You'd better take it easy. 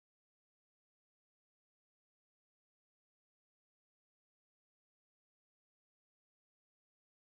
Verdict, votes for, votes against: rejected, 0, 2